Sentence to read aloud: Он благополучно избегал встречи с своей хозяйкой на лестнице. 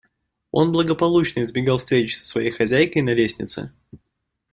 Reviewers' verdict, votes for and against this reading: accepted, 2, 0